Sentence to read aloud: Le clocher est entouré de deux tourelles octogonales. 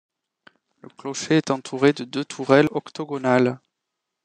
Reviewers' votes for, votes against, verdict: 2, 0, accepted